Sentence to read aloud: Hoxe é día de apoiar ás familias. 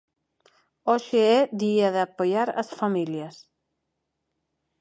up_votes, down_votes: 2, 4